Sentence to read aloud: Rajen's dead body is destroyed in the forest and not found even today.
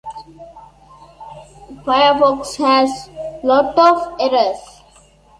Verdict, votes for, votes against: rejected, 0, 2